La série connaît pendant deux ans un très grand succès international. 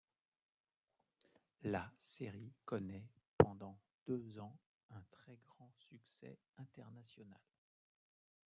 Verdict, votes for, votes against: accepted, 2, 0